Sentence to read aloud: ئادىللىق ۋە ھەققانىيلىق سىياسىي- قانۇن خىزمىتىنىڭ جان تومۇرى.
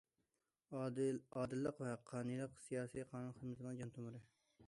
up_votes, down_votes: 0, 2